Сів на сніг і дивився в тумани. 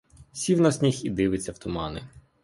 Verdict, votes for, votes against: rejected, 1, 2